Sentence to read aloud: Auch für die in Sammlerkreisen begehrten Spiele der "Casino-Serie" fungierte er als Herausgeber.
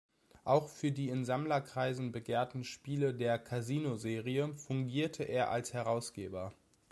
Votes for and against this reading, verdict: 2, 0, accepted